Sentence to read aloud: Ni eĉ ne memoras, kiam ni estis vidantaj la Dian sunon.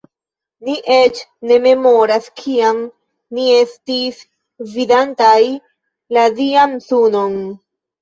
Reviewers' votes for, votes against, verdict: 2, 0, accepted